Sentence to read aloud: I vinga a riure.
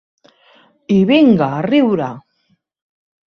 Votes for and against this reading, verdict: 4, 0, accepted